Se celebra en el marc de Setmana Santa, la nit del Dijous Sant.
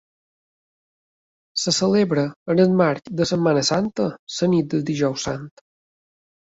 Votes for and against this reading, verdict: 0, 2, rejected